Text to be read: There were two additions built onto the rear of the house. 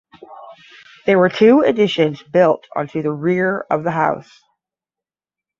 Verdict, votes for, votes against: accepted, 10, 0